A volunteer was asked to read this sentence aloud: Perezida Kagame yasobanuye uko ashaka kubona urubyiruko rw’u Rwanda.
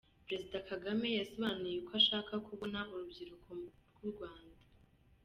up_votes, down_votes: 2, 1